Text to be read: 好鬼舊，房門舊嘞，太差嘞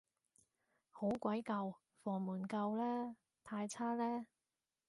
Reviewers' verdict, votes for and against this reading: accepted, 2, 0